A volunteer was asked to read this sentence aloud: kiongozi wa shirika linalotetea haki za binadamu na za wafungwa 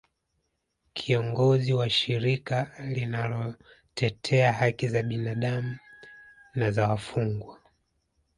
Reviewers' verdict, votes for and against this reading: accepted, 2, 1